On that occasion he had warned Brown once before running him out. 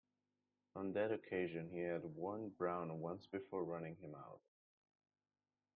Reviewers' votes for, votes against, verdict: 2, 1, accepted